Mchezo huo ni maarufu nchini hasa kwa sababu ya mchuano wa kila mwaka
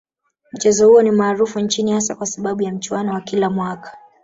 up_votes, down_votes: 3, 0